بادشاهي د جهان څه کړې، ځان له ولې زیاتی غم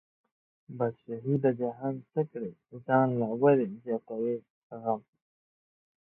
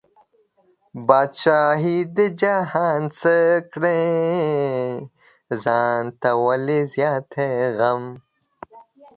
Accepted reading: second